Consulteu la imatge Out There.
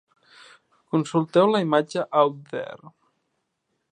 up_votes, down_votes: 3, 0